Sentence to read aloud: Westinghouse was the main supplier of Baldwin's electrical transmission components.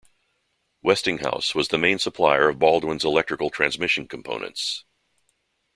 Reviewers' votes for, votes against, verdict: 2, 0, accepted